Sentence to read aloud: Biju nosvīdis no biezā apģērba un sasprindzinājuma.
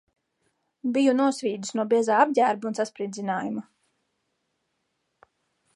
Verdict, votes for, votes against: accepted, 2, 0